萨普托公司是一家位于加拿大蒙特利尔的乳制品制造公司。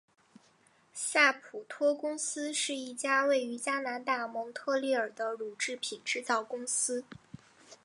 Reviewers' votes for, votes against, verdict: 5, 0, accepted